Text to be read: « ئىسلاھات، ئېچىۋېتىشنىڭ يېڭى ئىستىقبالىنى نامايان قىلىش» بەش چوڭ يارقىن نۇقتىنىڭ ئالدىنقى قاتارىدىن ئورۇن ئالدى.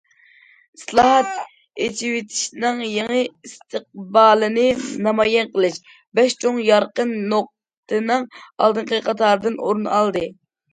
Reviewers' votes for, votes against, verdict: 2, 0, accepted